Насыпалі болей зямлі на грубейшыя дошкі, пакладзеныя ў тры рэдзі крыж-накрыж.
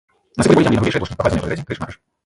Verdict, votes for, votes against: rejected, 0, 2